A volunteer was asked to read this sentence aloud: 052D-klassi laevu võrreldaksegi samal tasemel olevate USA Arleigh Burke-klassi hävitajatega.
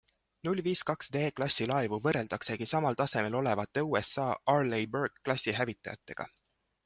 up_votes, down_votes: 0, 2